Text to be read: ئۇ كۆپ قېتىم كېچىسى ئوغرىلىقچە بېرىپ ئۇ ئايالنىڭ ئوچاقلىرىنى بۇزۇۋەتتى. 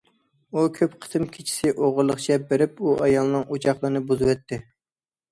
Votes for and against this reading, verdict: 2, 0, accepted